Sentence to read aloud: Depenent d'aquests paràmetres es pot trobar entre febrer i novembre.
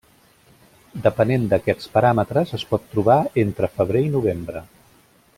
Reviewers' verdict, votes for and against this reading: accepted, 3, 0